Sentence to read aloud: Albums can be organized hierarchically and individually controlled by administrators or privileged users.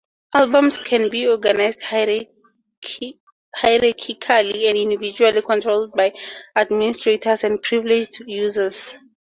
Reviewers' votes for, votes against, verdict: 0, 2, rejected